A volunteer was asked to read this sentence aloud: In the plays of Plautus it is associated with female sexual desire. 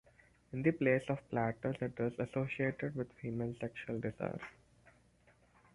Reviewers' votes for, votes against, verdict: 4, 2, accepted